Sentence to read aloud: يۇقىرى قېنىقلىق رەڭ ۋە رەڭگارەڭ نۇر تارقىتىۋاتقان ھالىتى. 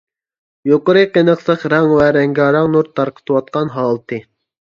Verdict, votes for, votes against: accepted, 2, 0